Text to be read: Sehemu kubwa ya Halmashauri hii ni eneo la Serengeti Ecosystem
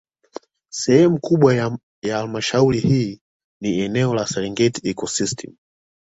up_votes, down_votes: 2, 1